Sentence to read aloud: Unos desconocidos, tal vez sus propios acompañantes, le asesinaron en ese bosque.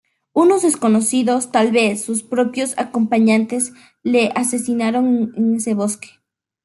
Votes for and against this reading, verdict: 2, 0, accepted